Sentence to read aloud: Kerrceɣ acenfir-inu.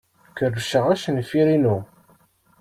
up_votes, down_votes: 2, 0